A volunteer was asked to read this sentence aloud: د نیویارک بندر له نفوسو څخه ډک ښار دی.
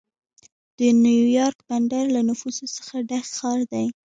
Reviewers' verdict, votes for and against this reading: rejected, 1, 2